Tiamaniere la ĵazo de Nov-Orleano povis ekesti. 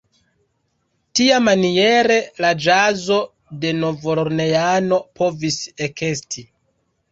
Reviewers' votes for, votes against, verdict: 1, 2, rejected